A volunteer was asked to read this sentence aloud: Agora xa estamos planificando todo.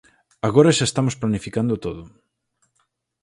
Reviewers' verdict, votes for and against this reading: accepted, 16, 0